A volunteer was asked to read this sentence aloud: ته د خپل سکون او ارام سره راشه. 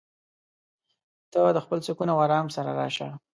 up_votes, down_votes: 2, 0